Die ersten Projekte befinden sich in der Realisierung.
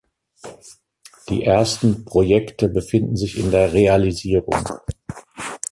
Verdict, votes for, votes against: rejected, 1, 2